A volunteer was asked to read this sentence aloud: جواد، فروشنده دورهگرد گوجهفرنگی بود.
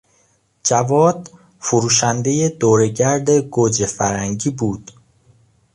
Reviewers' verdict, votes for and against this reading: accepted, 2, 0